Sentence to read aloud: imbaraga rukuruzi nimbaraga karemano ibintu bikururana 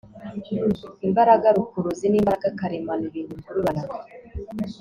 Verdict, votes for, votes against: accepted, 2, 0